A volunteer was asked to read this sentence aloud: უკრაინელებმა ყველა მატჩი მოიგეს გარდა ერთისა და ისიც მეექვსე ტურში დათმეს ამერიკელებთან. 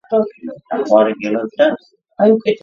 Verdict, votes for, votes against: rejected, 0, 2